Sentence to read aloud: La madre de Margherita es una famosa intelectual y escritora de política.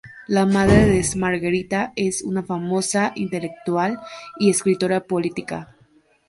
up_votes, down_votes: 0, 2